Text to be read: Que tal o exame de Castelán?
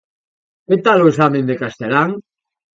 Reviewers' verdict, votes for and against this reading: accepted, 2, 0